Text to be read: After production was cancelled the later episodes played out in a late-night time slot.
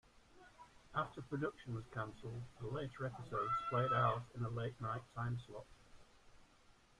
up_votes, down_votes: 0, 3